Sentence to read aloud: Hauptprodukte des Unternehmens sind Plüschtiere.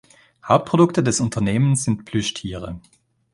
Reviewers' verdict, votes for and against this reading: accepted, 2, 0